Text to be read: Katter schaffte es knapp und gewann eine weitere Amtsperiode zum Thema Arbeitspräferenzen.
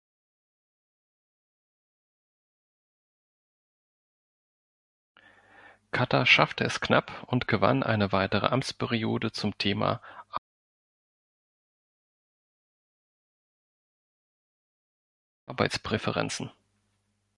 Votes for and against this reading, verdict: 2, 4, rejected